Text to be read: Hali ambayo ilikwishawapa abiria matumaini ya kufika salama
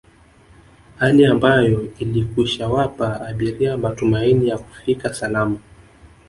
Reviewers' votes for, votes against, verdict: 1, 2, rejected